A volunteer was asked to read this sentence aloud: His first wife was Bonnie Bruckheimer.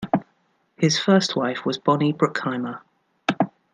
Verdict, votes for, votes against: accepted, 2, 0